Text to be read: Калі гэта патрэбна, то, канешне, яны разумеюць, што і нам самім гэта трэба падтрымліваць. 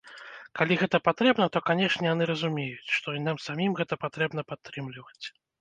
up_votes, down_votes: 0, 2